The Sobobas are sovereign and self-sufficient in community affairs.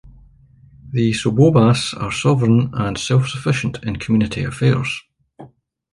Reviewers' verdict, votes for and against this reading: accepted, 2, 1